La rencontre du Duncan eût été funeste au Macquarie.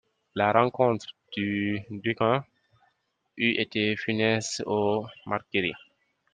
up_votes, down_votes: 0, 2